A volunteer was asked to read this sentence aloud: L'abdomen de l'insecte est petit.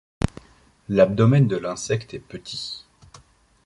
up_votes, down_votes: 2, 0